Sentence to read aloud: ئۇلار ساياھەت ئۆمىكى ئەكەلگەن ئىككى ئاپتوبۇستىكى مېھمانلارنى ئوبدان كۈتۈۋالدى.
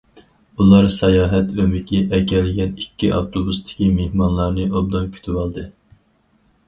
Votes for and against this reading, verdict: 4, 0, accepted